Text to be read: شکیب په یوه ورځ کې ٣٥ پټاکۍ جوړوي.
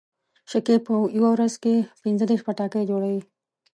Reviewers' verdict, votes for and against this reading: rejected, 0, 2